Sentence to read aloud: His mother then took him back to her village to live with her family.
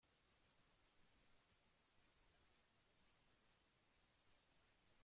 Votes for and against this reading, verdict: 0, 2, rejected